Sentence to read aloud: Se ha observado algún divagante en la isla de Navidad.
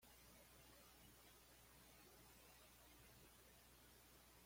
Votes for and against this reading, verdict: 2, 0, accepted